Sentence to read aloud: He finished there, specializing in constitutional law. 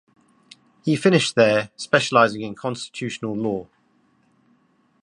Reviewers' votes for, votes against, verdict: 2, 0, accepted